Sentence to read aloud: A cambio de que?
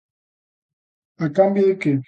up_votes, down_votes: 2, 0